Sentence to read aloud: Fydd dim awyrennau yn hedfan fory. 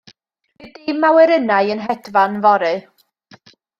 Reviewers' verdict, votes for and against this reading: rejected, 1, 2